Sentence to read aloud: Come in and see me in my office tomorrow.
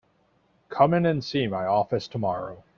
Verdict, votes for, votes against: rejected, 1, 3